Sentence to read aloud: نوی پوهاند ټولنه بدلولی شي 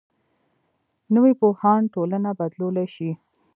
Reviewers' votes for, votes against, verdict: 1, 2, rejected